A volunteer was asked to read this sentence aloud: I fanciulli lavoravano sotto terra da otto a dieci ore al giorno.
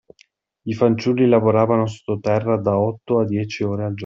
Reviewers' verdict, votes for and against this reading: rejected, 0, 2